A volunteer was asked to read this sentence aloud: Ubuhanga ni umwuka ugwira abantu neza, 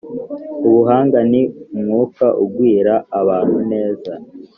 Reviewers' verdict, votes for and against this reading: accepted, 2, 0